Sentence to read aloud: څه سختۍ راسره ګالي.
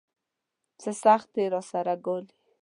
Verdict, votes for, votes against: accepted, 2, 1